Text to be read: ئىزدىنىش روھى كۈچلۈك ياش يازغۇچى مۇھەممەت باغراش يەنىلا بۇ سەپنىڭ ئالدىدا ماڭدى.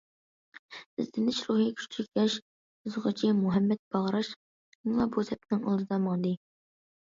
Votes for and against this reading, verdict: 2, 1, accepted